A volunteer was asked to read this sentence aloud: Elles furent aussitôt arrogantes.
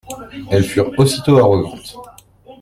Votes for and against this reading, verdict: 2, 1, accepted